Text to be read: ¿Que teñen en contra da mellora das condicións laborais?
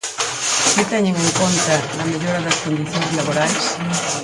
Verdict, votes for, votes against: rejected, 0, 4